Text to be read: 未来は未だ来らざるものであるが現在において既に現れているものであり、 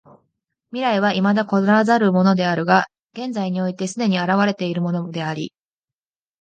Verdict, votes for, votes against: accepted, 2, 1